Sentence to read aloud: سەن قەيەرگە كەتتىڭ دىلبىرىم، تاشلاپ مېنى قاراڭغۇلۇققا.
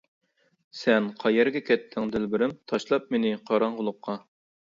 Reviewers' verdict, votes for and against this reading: accepted, 2, 0